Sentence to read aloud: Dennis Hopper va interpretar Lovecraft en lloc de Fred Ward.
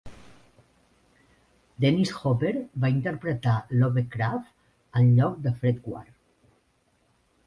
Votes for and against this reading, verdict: 2, 0, accepted